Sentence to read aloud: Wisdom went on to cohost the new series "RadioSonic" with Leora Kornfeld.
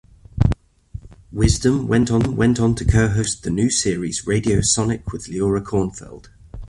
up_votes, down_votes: 0, 2